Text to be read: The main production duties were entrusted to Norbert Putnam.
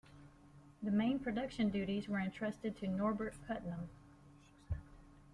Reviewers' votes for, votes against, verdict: 2, 3, rejected